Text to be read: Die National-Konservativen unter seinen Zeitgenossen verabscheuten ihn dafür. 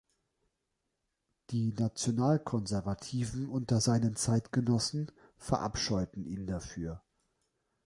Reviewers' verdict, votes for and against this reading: accepted, 3, 0